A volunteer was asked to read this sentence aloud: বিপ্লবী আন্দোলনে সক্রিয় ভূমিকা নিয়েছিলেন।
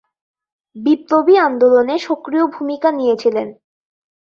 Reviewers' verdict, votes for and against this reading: rejected, 1, 3